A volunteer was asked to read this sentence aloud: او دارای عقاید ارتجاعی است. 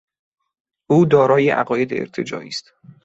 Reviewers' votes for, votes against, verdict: 2, 1, accepted